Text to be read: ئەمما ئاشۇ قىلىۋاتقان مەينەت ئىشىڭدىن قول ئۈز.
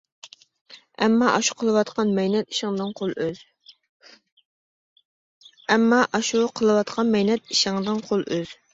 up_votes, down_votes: 0, 2